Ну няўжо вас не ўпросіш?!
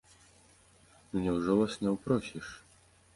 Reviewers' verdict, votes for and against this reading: accepted, 2, 0